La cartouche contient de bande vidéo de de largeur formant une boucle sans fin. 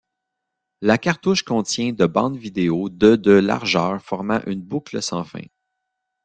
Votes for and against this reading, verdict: 2, 1, accepted